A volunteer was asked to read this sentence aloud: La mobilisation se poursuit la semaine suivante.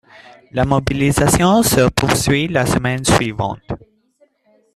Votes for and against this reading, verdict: 2, 0, accepted